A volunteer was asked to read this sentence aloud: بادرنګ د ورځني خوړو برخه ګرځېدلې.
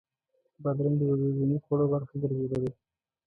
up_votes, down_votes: 1, 2